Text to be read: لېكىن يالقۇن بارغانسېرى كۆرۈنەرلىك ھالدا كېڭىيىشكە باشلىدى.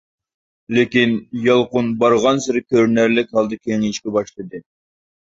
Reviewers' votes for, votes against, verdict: 2, 0, accepted